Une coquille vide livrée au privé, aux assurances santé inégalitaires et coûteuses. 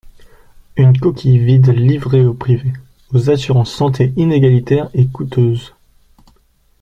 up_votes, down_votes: 2, 1